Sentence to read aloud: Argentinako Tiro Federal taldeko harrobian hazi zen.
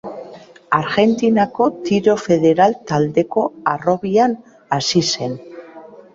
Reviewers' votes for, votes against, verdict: 2, 1, accepted